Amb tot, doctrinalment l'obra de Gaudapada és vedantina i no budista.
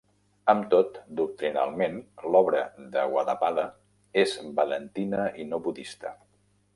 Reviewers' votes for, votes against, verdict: 0, 2, rejected